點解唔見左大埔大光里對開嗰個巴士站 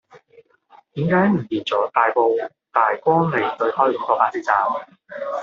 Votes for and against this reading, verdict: 1, 2, rejected